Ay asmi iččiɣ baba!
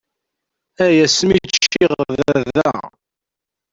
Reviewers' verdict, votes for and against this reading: rejected, 0, 2